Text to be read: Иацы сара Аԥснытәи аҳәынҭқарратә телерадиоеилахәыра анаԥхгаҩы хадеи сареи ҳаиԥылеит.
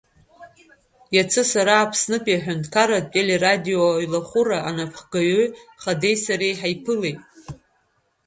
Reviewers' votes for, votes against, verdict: 1, 2, rejected